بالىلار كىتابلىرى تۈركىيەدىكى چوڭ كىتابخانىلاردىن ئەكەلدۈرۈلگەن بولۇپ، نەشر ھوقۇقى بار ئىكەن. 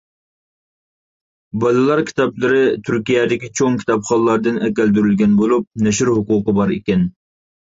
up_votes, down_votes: 2, 0